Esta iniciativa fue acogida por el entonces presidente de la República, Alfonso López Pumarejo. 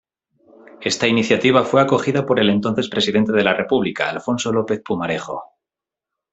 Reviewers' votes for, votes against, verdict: 2, 0, accepted